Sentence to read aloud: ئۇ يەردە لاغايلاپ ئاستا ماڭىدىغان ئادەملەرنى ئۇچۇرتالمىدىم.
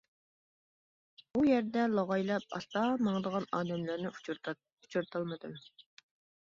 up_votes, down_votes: 0, 2